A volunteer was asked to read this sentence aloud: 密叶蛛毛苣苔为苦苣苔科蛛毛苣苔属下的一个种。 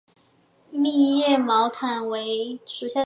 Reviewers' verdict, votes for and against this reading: rejected, 0, 4